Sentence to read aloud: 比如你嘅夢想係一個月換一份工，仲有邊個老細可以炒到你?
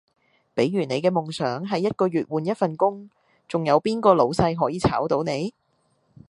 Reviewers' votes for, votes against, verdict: 2, 0, accepted